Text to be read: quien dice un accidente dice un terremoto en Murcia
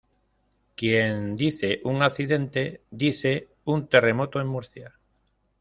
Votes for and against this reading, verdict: 2, 0, accepted